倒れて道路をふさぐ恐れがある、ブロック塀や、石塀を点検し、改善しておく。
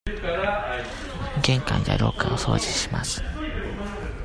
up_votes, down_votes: 0, 2